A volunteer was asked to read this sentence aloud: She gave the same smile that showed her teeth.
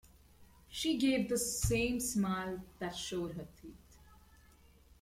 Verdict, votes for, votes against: accepted, 2, 0